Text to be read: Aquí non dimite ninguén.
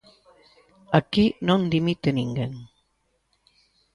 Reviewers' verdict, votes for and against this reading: rejected, 1, 2